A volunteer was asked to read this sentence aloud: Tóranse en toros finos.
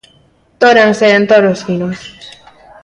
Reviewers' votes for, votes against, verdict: 2, 0, accepted